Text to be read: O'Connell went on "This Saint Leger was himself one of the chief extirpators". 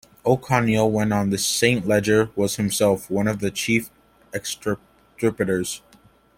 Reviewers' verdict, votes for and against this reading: rejected, 1, 2